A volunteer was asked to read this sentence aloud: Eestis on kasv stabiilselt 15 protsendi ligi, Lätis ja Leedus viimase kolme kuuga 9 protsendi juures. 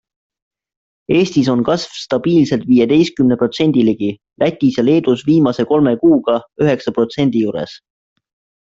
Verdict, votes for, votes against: rejected, 0, 2